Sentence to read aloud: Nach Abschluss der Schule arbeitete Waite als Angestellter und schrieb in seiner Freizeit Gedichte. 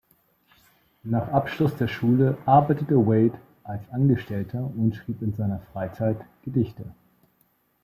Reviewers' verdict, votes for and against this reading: accepted, 2, 0